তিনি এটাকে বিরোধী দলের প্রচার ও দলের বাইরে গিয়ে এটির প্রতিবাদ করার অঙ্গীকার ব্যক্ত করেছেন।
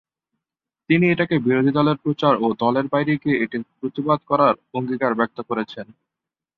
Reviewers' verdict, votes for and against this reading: accepted, 4, 0